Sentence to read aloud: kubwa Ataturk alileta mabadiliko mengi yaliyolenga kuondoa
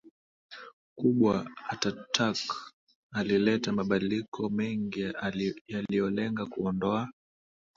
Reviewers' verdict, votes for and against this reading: rejected, 0, 2